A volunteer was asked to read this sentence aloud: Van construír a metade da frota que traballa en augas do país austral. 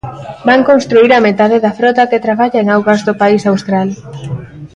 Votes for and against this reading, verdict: 1, 2, rejected